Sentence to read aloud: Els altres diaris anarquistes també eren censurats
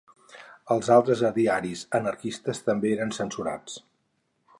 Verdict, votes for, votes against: rejected, 2, 4